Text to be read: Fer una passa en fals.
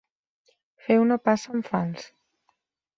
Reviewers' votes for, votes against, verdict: 1, 2, rejected